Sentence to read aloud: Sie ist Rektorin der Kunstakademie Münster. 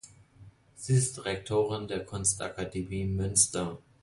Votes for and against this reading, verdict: 2, 1, accepted